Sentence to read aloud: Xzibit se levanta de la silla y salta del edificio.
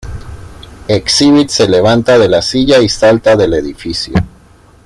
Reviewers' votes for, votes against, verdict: 1, 2, rejected